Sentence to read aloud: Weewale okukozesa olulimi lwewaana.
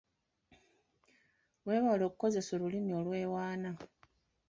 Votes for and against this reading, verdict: 2, 0, accepted